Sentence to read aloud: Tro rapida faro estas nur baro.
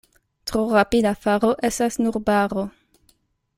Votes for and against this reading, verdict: 1, 2, rejected